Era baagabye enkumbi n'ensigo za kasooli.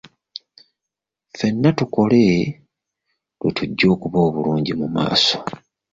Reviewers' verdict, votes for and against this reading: rejected, 0, 2